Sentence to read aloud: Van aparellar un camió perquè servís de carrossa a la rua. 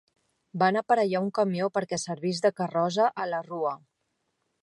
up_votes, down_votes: 1, 2